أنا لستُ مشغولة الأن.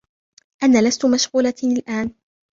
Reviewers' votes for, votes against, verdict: 1, 2, rejected